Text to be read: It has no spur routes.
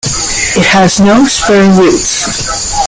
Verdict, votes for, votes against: rejected, 0, 2